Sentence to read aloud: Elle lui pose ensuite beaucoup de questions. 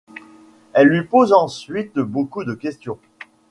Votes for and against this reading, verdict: 2, 0, accepted